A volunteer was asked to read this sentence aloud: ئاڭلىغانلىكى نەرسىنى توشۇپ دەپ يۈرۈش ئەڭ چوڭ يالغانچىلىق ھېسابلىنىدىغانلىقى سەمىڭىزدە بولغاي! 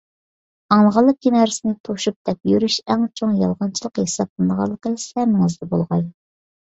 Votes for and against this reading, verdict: 2, 0, accepted